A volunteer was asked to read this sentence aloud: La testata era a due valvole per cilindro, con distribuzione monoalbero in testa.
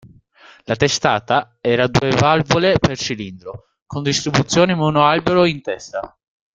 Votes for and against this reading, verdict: 0, 2, rejected